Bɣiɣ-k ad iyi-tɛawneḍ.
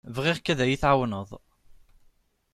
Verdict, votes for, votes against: accepted, 2, 0